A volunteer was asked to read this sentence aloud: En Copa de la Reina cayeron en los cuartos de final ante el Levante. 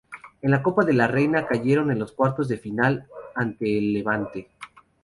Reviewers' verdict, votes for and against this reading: rejected, 0, 2